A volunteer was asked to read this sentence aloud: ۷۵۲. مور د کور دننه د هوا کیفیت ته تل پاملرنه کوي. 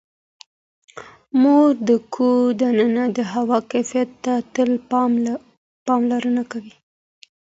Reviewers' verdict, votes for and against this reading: rejected, 0, 2